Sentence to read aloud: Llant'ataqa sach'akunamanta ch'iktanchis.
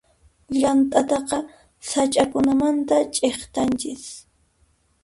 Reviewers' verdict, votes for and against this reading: accepted, 2, 0